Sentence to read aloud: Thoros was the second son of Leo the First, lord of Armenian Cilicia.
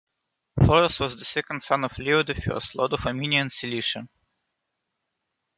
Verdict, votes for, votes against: accepted, 2, 1